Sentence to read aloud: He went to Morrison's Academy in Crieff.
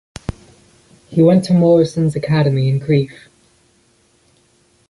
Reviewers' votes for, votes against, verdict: 2, 0, accepted